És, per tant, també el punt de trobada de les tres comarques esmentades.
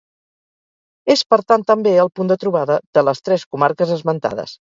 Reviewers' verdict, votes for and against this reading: rejected, 0, 2